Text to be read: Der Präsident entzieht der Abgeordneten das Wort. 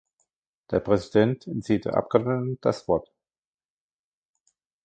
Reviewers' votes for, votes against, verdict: 2, 1, accepted